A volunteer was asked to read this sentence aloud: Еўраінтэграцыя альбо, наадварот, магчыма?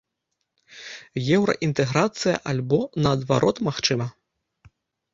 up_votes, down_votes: 2, 0